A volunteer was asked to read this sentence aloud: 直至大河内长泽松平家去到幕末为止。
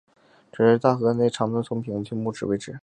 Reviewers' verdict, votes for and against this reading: rejected, 0, 3